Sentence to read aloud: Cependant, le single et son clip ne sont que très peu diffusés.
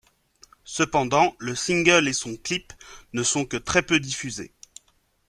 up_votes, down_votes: 2, 0